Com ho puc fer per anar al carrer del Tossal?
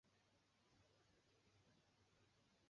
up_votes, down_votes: 1, 2